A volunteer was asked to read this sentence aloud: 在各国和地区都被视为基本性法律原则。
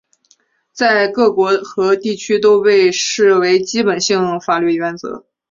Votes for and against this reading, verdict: 3, 0, accepted